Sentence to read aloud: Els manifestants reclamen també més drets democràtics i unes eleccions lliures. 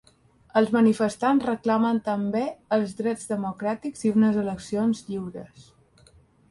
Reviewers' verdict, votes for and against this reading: rejected, 1, 2